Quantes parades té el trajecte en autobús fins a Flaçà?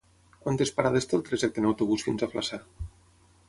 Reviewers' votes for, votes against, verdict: 6, 0, accepted